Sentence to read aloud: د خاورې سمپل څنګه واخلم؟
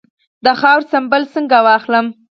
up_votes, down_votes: 2, 4